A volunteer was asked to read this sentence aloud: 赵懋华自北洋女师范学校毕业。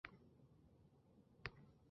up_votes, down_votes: 2, 3